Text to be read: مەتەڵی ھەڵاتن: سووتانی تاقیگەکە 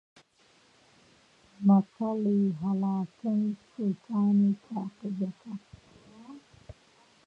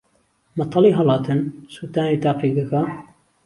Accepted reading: second